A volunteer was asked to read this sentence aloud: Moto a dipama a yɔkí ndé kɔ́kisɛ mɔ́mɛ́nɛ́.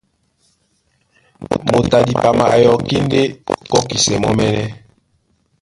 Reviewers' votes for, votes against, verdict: 1, 2, rejected